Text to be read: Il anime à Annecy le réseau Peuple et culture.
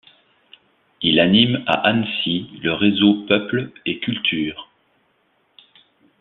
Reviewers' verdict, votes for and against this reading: accepted, 2, 1